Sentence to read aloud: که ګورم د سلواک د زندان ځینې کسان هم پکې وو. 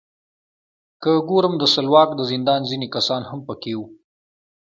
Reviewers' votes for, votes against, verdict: 2, 0, accepted